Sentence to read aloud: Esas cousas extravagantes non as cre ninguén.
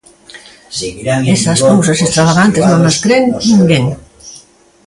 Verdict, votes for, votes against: rejected, 0, 2